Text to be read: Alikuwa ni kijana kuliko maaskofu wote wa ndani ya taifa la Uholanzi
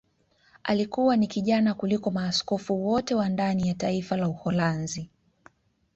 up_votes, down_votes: 2, 0